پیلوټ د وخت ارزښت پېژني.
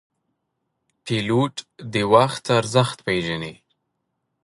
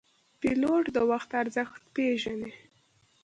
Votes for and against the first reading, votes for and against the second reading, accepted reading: 1, 2, 2, 0, second